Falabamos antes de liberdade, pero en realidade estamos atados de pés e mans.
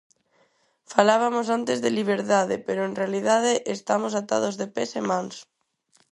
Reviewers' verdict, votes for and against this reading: rejected, 0, 4